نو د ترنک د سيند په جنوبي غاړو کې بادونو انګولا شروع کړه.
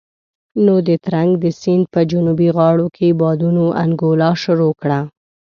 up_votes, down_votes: 2, 0